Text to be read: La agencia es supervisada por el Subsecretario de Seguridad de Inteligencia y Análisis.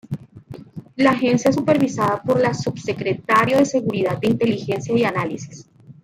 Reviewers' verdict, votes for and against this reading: rejected, 1, 2